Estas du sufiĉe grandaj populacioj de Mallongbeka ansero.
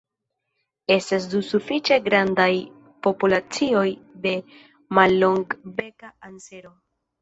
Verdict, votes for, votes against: rejected, 1, 2